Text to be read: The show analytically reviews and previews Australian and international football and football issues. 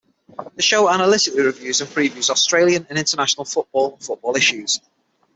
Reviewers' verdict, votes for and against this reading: rejected, 3, 6